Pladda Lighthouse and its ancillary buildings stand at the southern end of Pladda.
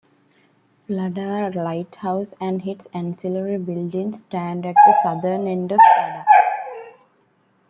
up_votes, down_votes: 1, 2